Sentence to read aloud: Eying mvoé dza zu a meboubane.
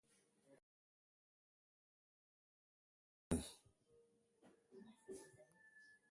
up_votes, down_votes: 0, 2